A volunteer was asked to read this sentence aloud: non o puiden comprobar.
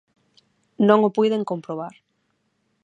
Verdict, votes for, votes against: accepted, 6, 0